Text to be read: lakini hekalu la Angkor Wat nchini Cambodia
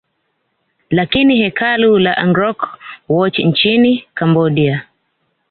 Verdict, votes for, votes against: rejected, 0, 2